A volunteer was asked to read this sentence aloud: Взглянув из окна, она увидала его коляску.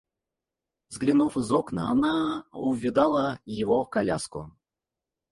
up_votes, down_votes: 0, 4